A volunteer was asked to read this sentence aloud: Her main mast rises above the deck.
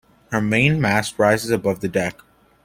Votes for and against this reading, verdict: 2, 0, accepted